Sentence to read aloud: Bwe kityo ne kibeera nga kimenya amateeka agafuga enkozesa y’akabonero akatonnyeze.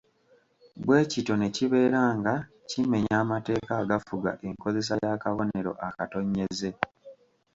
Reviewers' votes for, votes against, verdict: 2, 0, accepted